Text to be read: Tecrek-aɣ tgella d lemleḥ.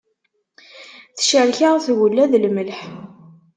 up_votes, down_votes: 2, 0